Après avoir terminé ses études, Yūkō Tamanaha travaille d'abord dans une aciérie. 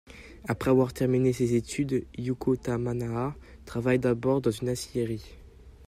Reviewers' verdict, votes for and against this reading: rejected, 1, 2